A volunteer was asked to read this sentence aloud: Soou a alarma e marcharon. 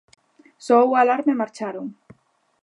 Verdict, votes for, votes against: accepted, 2, 0